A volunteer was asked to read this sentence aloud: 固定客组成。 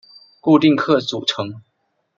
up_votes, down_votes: 2, 0